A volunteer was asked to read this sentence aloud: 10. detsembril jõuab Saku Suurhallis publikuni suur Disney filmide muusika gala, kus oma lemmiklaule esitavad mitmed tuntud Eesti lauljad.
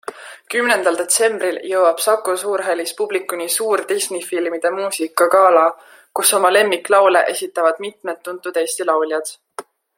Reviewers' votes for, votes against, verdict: 0, 2, rejected